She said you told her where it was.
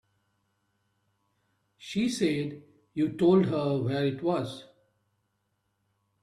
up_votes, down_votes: 2, 0